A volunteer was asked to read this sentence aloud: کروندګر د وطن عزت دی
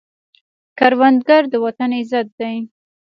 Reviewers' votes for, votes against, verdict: 3, 0, accepted